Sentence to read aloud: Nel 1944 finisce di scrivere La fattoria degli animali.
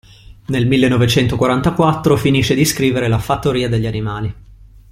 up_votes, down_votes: 0, 2